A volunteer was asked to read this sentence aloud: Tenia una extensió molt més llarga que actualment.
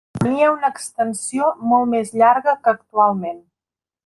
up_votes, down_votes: 0, 2